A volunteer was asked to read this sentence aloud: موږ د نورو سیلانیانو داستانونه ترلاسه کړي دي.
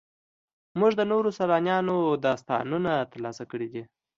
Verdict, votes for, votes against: accepted, 2, 0